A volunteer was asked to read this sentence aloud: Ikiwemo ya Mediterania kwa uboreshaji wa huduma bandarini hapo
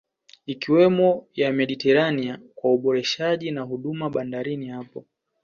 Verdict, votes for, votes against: rejected, 1, 2